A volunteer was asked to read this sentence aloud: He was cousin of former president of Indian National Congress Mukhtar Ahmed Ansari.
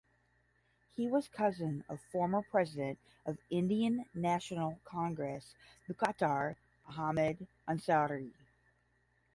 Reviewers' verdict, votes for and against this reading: rejected, 5, 5